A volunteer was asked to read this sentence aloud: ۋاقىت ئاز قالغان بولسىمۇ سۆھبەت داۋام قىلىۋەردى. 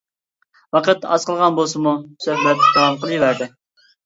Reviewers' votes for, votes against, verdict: 1, 2, rejected